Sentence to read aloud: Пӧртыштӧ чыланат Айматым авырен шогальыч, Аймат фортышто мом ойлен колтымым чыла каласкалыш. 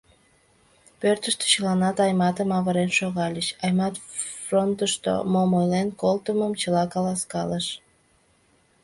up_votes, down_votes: 1, 2